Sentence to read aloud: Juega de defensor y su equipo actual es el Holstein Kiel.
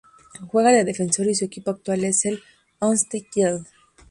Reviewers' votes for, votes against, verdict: 2, 0, accepted